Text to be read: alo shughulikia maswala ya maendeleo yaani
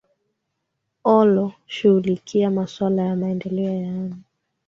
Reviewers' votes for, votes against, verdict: 1, 2, rejected